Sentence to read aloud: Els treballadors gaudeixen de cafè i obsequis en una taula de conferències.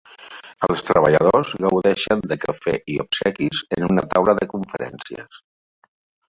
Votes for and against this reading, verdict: 3, 0, accepted